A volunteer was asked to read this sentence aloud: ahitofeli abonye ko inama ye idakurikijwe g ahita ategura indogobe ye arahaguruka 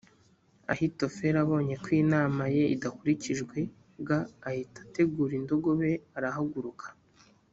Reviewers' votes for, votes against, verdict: 2, 0, accepted